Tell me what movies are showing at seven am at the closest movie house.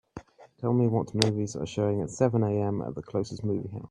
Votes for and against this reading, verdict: 0, 2, rejected